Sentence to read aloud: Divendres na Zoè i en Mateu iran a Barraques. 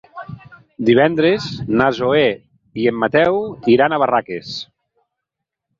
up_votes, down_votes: 4, 0